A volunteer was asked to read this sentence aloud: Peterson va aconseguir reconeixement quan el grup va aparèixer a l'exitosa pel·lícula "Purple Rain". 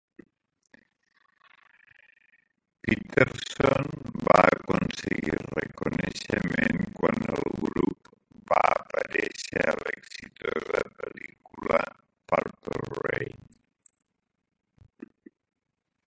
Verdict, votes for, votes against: rejected, 0, 2